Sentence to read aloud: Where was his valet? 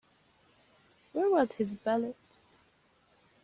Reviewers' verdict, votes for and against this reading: accepted, 2, 0